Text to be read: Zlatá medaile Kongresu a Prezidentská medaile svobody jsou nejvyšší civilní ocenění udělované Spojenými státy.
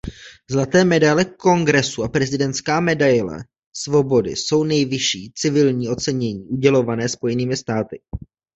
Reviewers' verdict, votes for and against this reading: rejected, 1, 2